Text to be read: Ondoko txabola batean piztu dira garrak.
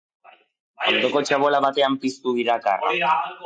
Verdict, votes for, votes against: rejected, 2, 2